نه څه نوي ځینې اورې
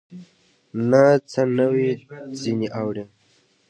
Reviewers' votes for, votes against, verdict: 2, 0, accepted